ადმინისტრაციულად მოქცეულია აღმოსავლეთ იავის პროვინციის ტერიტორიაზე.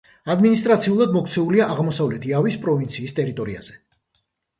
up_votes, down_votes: 1, 2